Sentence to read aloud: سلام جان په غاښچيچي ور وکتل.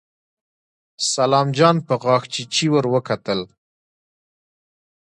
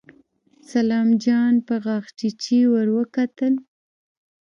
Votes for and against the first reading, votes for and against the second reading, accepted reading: 2, 0, 0, 2, first